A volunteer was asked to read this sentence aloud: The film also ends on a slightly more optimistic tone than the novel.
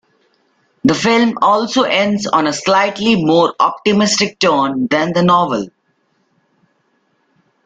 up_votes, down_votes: 2, 3